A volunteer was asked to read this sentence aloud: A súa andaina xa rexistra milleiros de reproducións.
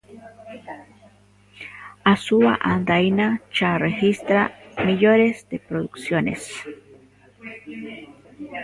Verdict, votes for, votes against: rejected, 0, 2